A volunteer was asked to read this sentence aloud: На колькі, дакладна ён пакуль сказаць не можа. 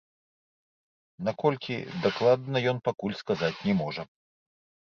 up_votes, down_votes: 0, 2